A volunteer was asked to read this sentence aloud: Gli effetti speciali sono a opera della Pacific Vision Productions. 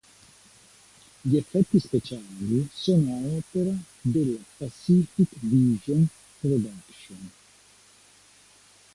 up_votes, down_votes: 1, 2